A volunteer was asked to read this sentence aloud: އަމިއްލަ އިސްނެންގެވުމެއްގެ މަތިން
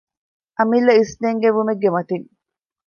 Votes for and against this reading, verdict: 2, 0, accepted